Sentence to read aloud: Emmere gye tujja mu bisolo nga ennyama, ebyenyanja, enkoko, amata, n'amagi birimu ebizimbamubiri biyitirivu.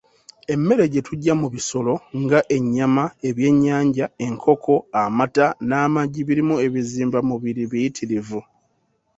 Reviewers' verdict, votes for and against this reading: accepted, 2, 0